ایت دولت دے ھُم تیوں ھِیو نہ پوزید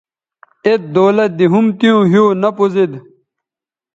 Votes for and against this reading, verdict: 2, 0, accepted